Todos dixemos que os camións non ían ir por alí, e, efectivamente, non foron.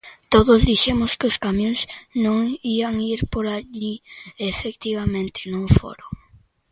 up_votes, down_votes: 2, 0